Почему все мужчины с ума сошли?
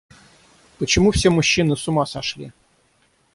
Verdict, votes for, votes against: rejected, 3, 3